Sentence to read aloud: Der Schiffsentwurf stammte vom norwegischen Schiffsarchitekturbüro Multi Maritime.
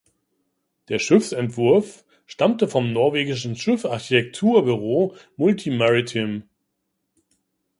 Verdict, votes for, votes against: rejected, 1, 2